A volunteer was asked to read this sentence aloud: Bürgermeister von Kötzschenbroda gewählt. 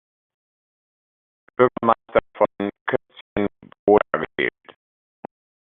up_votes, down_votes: 0, 2